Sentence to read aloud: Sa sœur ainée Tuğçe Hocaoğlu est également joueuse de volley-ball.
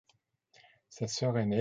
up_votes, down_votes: 0, 2